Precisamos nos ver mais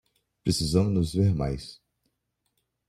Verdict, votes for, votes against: rejected, 1, 2